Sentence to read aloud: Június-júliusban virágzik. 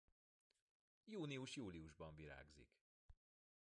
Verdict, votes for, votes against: accepted, 2, 1